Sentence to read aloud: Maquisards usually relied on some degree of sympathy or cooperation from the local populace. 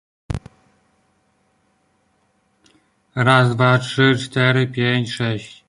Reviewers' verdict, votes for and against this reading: rejected, 0, 2